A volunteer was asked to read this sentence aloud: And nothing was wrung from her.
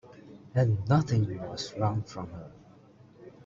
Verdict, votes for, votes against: accepted, 2, 1